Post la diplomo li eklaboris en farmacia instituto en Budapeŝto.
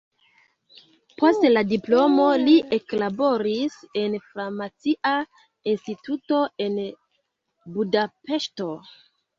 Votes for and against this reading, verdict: 2, 3, rejected